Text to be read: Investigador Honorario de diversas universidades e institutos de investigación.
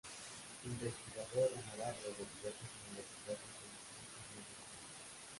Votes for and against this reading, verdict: 0, 2, rejected